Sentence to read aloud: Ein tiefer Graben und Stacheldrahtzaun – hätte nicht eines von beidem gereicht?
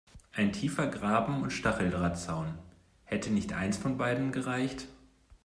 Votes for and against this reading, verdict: 2, 0, accepted